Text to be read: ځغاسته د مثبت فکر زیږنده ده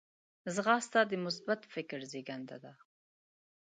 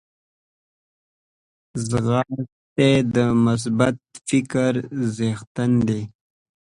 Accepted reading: first